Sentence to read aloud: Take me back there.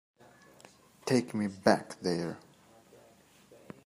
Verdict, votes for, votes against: accepted, 2, 0